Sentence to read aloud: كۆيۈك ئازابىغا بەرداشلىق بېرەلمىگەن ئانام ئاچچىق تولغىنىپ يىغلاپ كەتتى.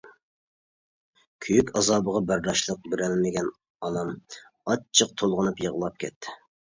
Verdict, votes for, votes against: accepted, 2, 0